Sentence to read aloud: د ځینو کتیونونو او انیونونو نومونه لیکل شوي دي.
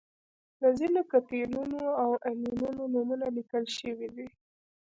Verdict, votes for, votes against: rejected, 1, 2